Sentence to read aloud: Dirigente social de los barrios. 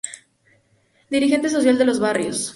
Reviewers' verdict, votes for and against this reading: accepted, 2, 0